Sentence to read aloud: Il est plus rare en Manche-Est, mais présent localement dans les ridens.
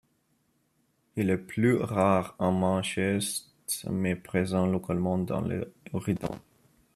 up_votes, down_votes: 0, 2